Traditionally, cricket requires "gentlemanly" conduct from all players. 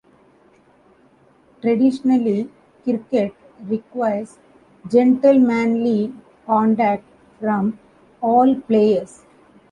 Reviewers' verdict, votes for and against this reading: accepted, 2, 1